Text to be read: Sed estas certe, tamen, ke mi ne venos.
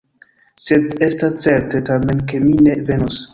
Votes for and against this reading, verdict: 1, 2, rejected